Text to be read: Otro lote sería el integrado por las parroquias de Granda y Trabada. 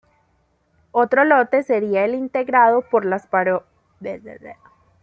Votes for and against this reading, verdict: 0, 2, rejected